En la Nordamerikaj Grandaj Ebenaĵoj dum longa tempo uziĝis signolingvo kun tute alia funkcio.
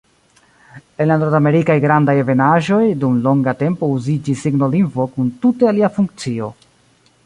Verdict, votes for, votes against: accepted, 2, 0